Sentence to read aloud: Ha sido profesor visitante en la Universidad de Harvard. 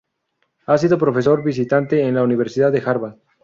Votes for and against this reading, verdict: 2, 0, accepted